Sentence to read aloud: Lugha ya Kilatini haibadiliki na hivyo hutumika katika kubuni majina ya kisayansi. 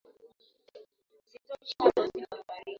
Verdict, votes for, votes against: rejected, 0, 2